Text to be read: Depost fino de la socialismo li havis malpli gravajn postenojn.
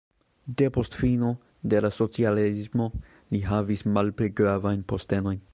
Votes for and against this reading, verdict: 0, 2, rejected